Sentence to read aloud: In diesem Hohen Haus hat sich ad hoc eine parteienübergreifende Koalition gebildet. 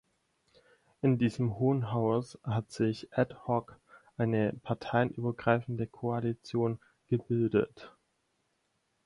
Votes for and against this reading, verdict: 2, 4, rejected